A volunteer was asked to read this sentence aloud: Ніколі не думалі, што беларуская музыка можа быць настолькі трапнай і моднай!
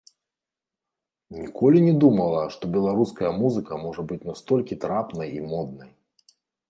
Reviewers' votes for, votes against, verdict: 0, 2, rejected